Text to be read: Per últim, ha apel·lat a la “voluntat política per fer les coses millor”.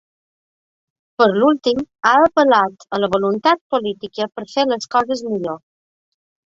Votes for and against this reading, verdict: 2, 3, rejected